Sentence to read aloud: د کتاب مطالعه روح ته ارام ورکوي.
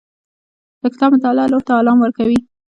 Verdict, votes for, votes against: rejected, 0, 2